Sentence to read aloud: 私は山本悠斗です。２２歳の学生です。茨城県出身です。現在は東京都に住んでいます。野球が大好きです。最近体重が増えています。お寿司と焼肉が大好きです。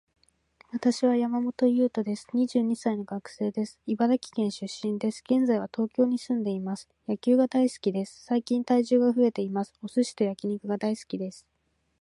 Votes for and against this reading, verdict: 0, 2, rejected